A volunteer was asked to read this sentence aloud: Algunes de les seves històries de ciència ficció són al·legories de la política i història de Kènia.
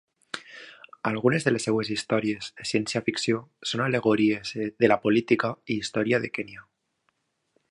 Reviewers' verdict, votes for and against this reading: accepted, 2, 1